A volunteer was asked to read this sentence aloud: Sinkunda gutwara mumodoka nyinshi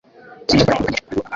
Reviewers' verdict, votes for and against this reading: rejected, 1, 2